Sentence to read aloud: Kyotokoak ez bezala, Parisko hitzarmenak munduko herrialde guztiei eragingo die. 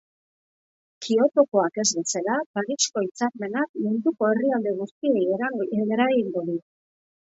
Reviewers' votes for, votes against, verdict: 0, 2, rejected